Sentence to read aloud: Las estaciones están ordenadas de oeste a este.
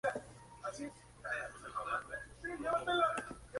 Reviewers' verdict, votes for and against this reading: rejected, 0, 2